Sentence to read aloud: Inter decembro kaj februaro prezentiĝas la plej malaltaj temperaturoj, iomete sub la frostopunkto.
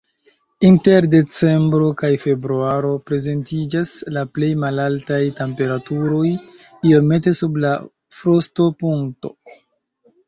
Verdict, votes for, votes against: rejected, 1, 2